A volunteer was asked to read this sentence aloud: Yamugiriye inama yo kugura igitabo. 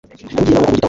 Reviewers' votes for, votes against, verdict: 2, 1, accepted